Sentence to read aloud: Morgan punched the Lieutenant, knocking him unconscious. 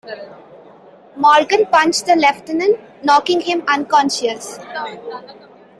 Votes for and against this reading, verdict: 0, 2, rejected